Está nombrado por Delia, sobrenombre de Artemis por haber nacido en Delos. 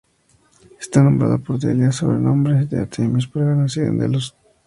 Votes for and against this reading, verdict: 2, 0, accepted